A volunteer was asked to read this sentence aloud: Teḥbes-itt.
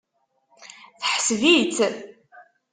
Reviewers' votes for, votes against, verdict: 1, 2, rejected